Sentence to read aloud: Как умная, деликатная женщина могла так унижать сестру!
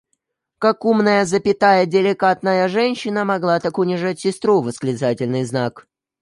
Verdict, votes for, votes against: rejected, 0, 2